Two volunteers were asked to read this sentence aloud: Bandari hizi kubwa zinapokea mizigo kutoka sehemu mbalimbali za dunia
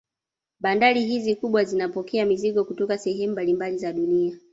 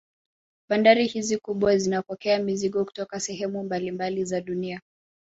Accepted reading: second